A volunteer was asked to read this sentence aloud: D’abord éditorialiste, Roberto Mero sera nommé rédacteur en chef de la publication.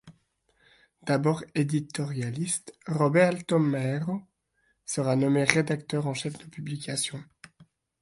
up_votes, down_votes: 1, 2